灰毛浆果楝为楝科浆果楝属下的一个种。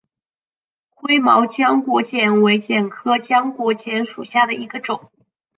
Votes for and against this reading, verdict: 2, 1, accepted